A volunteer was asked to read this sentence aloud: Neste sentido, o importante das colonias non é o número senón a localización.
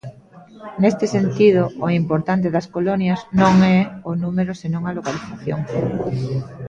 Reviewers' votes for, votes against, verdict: 0, 2, rejected